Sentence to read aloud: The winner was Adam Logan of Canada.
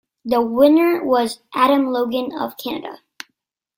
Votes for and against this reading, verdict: 2, 0, accepted